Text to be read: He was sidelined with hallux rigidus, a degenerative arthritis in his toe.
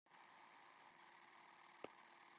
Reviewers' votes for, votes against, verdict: 0, 2, rejected